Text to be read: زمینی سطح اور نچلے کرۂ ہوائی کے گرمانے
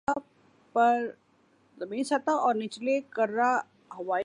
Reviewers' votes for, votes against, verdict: 0, 3, rejected